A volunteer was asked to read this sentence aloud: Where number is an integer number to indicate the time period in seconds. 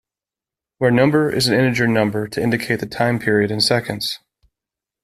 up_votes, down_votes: 2, 0